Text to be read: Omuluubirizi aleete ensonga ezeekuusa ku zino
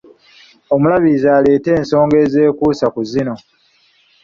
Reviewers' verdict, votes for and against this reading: rejected, 0, 2